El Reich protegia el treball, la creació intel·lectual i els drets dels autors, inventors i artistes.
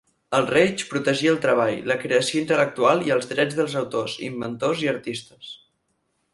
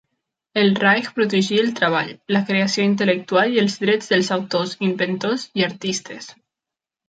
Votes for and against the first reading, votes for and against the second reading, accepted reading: 4, 0, 1, 2, first